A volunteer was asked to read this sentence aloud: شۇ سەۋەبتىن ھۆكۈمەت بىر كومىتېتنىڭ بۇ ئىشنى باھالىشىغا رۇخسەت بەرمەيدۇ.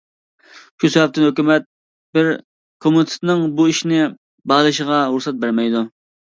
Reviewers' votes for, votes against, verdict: 1, 2, rejected